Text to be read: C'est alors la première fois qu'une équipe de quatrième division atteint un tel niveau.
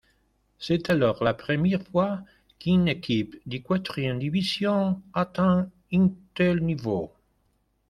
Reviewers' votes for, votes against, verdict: 2, 1, accepted